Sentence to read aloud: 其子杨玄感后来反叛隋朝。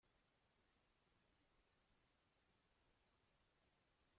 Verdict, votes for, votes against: rejected, 0, 2